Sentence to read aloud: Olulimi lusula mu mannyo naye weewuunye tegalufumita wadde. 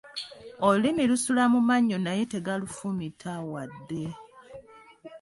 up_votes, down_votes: 1, 2